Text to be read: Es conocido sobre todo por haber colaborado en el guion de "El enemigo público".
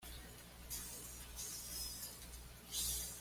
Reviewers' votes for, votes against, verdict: 1, 2, rejected